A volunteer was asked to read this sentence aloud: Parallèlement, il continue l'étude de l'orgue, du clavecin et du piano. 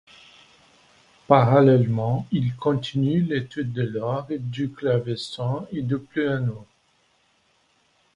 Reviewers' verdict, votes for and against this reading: accepted, 2, 0